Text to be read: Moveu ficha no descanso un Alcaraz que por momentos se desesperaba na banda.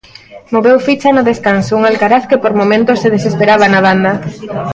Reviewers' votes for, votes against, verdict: 1, 2, rejected